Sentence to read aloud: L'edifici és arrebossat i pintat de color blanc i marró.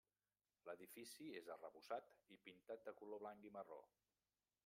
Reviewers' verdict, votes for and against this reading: rejected, 0, 2